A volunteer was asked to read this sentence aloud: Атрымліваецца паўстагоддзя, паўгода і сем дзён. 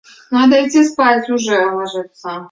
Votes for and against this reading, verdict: 0, 2, rejected